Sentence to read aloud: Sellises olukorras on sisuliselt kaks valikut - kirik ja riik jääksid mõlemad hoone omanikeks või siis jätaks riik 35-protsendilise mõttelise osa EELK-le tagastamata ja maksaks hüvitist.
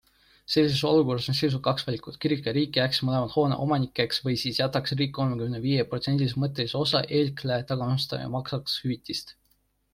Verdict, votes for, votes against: rejected, 0, 2